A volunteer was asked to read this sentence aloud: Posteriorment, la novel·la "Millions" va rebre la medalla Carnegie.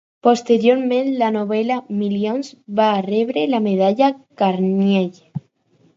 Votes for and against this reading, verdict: 2, 4, rejected